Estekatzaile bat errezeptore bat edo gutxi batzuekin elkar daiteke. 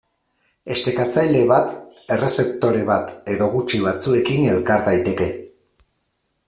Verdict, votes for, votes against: accepted, 4, 0